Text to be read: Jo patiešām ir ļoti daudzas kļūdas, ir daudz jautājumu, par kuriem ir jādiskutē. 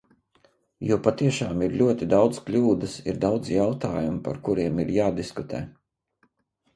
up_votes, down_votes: 0, 2